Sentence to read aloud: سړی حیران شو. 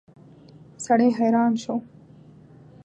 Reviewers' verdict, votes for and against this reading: accepted, 4, 0